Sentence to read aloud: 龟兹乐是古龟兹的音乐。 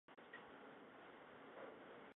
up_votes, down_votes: 1, 2